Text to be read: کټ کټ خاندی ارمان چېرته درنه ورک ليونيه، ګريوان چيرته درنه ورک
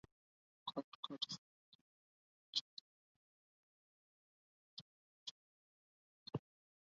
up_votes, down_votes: 2, 4